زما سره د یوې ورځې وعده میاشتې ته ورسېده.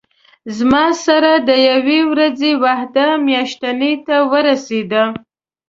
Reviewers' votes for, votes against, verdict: 1, 2, rejected